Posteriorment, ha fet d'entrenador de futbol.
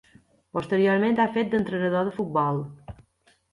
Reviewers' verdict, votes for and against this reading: accepted, 2, 0